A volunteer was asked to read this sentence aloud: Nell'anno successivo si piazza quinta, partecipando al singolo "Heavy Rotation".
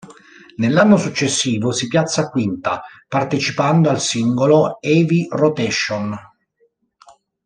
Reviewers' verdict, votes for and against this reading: accepted, 2, 0